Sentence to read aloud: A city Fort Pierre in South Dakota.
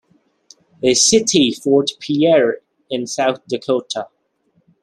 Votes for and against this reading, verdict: 2, 0, accepted